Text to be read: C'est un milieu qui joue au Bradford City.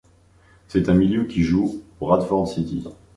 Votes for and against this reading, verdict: 1, 2, rejected